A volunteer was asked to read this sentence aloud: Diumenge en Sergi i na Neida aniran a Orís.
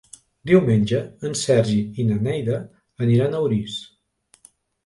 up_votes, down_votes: 3, 0